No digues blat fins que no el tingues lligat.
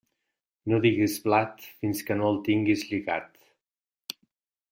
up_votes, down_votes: 2, 0